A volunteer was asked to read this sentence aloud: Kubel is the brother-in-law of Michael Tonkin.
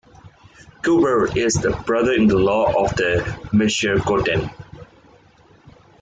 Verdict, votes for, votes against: rejected, 0, 2